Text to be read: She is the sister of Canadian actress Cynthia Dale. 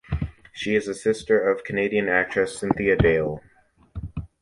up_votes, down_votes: 2, 0